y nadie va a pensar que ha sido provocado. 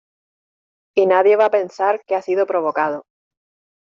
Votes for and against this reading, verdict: 2, 0, accepted